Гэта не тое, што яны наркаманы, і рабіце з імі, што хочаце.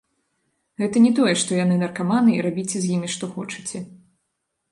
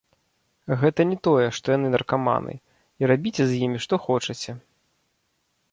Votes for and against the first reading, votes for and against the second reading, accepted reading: 2, 0, 1, 2, first